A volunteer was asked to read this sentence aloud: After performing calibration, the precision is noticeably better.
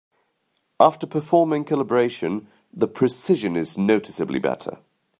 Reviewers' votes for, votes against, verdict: 2, 0, accepted